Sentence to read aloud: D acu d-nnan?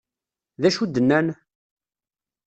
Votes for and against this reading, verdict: 2, 1, accepted